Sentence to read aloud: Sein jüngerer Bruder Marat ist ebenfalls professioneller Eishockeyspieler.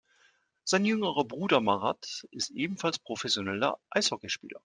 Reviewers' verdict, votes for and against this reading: accepted, 2, 0